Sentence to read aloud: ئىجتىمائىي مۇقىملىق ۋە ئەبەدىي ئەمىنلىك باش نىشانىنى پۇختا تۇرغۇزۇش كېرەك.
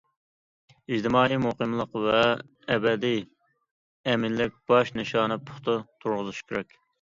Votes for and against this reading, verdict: 1, 2, rejected